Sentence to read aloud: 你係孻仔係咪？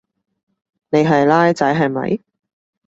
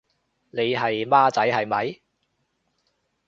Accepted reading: first